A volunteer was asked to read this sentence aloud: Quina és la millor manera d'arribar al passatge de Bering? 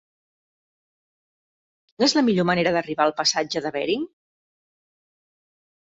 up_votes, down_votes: 0, 2